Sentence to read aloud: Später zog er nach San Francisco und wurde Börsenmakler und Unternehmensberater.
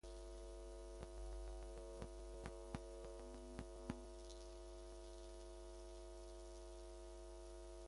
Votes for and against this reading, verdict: 0, 2, rejected